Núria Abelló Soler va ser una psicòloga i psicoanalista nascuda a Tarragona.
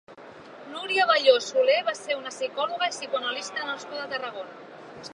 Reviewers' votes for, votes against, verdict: 1, 2, rejected